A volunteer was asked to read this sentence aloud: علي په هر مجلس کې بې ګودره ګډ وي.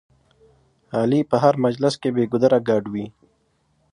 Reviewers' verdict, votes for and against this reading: accepted, 2, 0